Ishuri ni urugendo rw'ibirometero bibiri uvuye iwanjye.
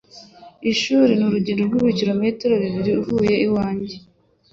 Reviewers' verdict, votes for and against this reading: accepted, 2, 0